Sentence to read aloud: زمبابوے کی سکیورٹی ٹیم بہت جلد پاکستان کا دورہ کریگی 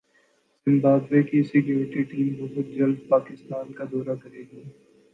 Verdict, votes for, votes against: rejected, 2, 2